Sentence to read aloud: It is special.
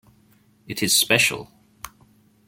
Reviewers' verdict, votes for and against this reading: accepted, 2, 0